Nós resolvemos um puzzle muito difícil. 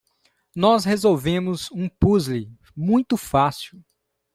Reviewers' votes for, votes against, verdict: 0, 2, rejected